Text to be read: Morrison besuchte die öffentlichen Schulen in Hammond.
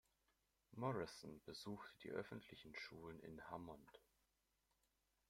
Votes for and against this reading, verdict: 2, 1, accepted